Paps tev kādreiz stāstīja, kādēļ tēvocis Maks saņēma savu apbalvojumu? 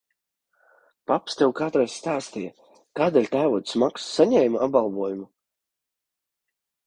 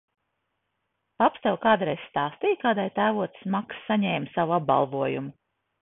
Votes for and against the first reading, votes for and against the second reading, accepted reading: 0, 2, 2, 0, second